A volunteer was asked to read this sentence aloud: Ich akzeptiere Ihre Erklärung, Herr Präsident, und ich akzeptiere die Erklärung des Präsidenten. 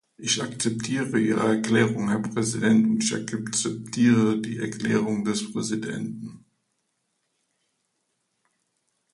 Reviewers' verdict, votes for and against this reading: rejected, 1, 2